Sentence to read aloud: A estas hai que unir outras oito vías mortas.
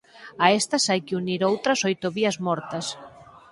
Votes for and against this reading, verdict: 4, 2, accepted